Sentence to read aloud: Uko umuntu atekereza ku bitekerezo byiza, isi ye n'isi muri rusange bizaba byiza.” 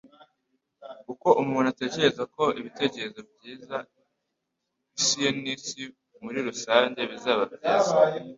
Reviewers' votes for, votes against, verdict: 2, 0, accepted